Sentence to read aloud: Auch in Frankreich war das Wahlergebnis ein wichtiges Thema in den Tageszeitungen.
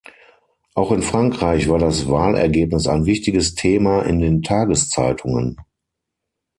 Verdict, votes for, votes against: accepted, 6, 0